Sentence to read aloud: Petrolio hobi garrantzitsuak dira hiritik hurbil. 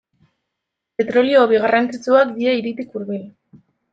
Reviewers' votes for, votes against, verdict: 2, 1, accepted